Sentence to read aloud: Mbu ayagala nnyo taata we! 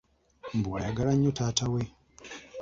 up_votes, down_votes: 2, 0